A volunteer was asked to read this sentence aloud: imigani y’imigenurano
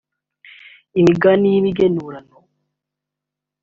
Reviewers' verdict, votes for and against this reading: accepted, 2, 0